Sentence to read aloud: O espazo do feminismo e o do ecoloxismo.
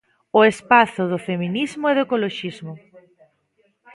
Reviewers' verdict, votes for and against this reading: rejected, 1, 2